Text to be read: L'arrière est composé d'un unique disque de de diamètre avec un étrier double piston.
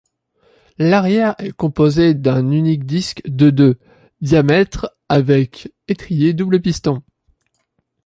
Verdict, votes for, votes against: rejected, 1, 2